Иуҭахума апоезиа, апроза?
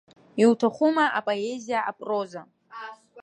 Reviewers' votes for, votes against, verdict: 2, 0, accepted